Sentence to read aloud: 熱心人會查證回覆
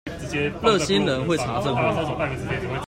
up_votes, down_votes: 1, 2